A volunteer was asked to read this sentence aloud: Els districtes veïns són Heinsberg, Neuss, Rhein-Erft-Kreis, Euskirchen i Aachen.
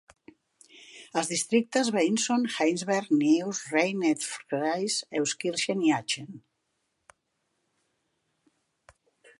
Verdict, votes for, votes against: accepted, 2, 0